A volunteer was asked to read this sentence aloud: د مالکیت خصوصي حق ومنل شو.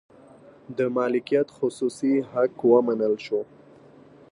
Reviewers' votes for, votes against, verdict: 2, 0, accepted